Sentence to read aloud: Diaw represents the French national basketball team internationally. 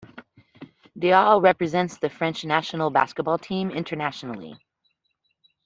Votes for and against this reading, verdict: 2, 0, accepted